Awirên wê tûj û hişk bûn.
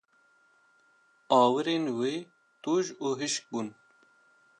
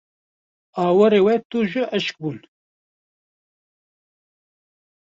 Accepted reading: first